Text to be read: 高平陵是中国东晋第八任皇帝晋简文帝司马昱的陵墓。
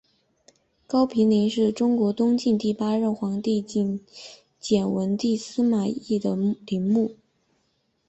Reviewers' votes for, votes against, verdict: 5, 4, accepted